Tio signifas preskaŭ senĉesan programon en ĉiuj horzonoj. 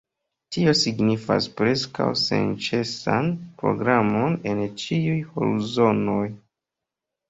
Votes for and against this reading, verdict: 2, 0, accepted